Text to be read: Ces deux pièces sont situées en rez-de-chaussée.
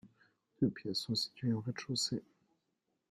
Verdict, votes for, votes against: rejected, 1, 2